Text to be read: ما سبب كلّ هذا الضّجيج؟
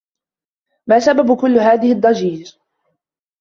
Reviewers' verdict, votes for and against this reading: rejected, 1, 2